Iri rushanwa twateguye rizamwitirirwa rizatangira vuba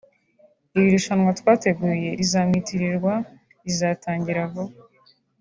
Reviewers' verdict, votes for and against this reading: accepted, 2, 0